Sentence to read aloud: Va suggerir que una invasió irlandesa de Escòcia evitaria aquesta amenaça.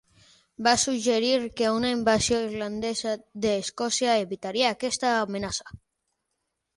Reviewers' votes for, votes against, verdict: 3, 3, rejected